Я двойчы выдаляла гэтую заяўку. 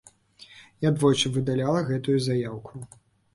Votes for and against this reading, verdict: 2, 0, accepted